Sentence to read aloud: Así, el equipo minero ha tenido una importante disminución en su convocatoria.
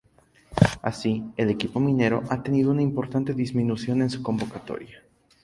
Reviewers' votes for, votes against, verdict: 4, 0, accepted